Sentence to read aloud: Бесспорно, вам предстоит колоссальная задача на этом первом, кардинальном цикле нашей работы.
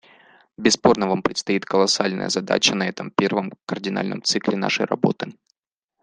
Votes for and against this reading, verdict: 2, 0, accepted